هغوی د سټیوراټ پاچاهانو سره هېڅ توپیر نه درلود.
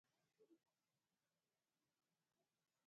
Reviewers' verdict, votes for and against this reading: rejected, 1, 2